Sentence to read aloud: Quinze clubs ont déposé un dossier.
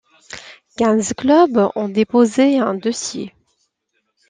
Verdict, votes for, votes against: accepted, 2, 1